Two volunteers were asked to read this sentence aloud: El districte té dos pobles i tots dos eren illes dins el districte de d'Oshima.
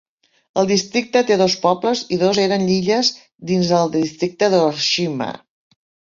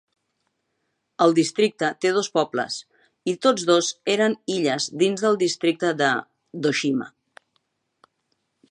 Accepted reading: second